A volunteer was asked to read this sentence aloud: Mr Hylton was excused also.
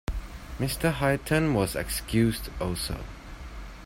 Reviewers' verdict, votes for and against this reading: rejected, 1, 2